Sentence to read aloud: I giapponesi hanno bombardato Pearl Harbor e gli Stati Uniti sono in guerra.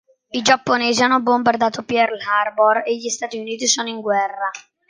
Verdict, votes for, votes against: rejected, 1, 2